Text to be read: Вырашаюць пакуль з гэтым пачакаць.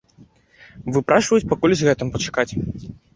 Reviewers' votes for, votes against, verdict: 0, 2, rejected